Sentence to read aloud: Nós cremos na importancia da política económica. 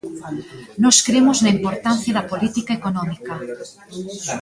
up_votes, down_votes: 2, 0